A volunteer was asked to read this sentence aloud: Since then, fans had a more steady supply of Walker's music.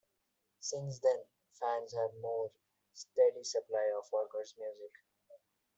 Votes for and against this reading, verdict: 2, 0, accepted